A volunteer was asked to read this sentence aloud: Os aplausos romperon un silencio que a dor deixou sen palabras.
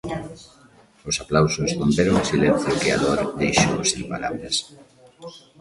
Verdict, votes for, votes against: rejected, 0, 2